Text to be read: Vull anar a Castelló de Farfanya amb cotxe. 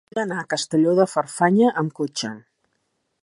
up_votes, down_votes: 1, 2